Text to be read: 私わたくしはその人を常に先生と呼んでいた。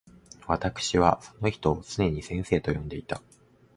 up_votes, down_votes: 0, 2